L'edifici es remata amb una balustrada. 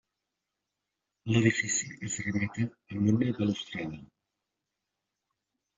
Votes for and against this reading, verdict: 0, 2, rejected